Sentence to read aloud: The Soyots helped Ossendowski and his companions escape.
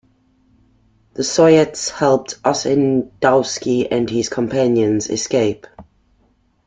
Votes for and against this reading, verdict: 1, 2, rejected